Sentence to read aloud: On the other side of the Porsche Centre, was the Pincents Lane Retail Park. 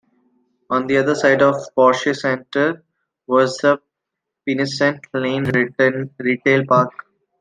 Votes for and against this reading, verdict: 0, 2, rejected